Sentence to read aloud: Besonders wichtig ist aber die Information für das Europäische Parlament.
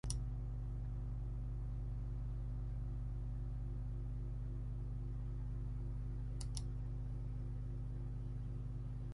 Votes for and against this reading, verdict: 0, 3, rejected